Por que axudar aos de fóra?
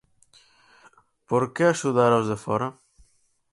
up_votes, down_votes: 6, 0